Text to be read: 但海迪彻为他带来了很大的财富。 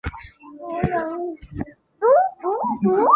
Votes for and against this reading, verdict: 1, 3, rejected